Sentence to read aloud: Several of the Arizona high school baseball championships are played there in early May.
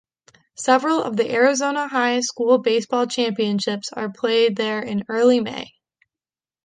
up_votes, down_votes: 3, 0